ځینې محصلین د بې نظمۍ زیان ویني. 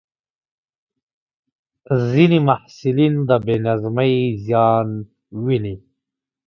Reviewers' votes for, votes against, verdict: 3, 0, accepted